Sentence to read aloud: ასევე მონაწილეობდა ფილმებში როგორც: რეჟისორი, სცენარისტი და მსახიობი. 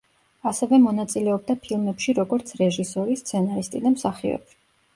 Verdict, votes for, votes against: rejected, 1, 2